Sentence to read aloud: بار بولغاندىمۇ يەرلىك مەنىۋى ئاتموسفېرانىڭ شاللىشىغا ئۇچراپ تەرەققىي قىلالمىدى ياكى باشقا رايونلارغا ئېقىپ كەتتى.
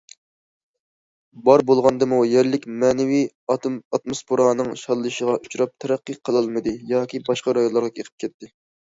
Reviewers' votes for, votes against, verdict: 0, 2, rejected